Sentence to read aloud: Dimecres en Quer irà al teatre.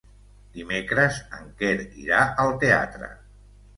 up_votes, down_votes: 2, 0